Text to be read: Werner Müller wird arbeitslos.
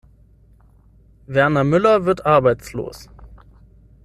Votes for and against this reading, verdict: 6, 0, accepted